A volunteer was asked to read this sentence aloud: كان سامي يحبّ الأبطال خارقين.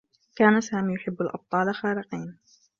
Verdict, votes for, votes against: accepted, 2, 0